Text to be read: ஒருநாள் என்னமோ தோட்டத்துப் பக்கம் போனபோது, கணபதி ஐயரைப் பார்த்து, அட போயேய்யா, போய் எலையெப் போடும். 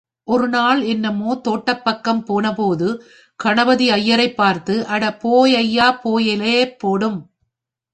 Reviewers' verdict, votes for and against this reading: rejected, 1, 2